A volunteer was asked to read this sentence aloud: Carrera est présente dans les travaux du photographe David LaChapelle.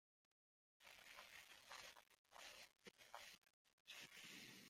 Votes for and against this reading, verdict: 0, 2, rejected